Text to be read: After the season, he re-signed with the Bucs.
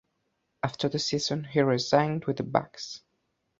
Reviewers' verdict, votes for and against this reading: accepted, 2, 0